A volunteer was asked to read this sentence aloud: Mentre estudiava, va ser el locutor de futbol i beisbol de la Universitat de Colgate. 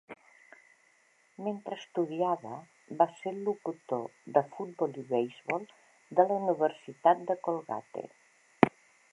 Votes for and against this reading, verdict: 2, 0, accepted